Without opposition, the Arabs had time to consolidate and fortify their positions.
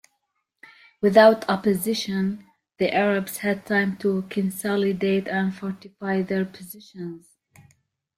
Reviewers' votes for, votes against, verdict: 2, 0, accepted